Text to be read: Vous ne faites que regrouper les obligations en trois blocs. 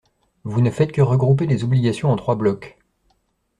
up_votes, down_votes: 2, 0